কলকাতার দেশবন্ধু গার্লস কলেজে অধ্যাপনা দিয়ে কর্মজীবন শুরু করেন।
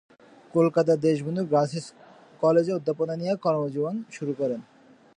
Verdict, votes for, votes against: rejected, 3, 8